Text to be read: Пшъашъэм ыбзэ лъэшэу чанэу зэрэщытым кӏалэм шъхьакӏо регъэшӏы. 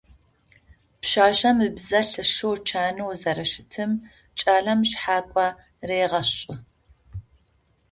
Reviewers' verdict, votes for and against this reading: accepted, 2, 0